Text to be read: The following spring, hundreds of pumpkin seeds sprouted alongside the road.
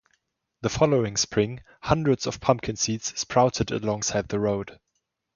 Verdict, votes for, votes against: accepted, 2, 0